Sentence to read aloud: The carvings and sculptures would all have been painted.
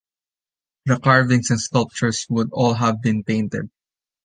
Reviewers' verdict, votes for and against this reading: accepted, 2, 0